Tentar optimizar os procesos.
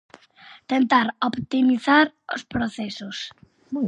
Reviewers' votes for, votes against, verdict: 0, 4, rejected